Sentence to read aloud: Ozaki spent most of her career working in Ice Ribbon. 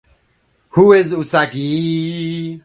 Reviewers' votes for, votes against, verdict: 0, 2, rejected